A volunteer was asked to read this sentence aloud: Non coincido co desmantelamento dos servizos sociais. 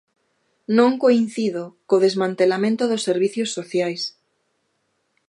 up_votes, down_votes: 0, 2